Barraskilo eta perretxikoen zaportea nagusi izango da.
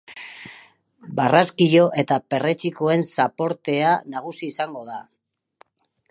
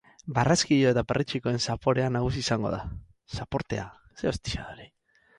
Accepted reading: first